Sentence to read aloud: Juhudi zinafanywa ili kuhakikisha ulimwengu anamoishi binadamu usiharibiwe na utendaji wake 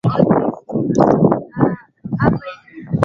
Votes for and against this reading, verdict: 0, 2, rejected